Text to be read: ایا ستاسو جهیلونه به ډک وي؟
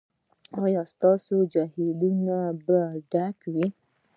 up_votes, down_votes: 1, 2